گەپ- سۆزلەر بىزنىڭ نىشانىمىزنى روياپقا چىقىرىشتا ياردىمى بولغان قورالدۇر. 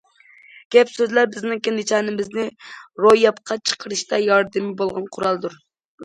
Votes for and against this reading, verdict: 0, 2, rejected